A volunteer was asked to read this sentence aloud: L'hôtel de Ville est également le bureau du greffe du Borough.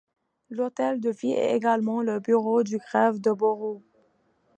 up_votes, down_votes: 2, 0